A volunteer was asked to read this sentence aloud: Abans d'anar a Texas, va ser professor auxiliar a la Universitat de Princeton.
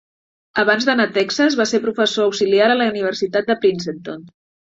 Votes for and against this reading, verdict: 0, 2, rejected